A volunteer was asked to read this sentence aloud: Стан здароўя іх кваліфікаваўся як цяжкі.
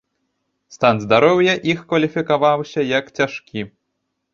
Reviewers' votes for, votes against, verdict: 2, 0, accepted